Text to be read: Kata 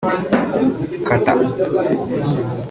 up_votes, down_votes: 0, 2